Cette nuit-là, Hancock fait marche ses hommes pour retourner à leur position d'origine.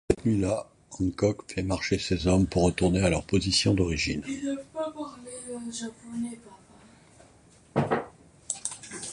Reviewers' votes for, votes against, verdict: 0, 2, rejected